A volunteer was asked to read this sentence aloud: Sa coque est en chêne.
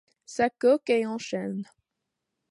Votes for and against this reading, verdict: 2, 0, accepted